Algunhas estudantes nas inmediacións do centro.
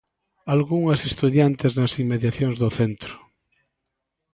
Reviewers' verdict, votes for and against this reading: rejected, 0, 2